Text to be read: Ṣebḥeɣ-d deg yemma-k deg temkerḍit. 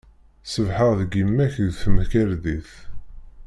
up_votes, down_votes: 1, 2